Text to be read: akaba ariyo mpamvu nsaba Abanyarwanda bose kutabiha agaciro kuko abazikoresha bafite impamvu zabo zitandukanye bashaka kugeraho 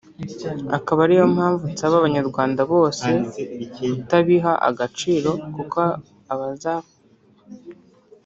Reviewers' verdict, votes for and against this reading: rejected, 0, 3